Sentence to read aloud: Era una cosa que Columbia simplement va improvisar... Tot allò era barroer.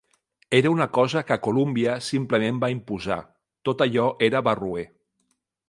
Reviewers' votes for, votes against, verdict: 0, 2, rejected